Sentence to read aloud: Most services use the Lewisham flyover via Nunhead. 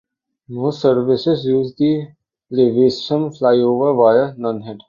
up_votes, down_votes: 3, 0